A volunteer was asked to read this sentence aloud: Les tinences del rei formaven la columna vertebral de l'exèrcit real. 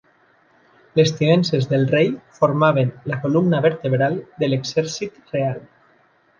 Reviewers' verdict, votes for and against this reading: accepted, 2, 0